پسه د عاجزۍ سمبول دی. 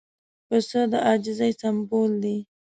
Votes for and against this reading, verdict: 2, 0, accepted